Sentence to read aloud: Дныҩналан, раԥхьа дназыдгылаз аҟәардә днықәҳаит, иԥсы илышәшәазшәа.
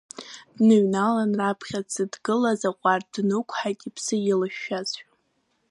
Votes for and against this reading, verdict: 0, 2, rejected